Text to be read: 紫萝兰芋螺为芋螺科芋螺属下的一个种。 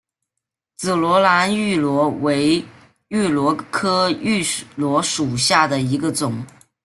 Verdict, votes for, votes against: accepted, 2, 0